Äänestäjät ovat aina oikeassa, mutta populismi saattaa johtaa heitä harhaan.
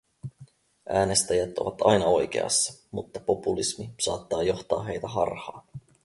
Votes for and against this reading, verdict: 4, 2, accepted